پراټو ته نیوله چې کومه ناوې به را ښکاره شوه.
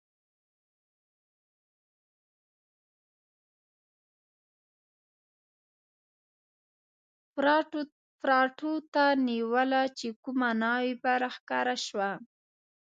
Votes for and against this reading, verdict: 1, 2, rejected